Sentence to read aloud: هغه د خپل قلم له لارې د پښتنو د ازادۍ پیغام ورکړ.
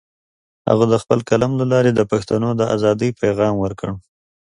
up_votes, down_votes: 2, 0